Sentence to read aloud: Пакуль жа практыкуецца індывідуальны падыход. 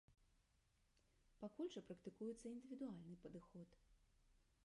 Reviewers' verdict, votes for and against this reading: rejected, 0, 2